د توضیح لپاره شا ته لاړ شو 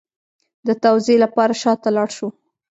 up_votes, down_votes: 2, 0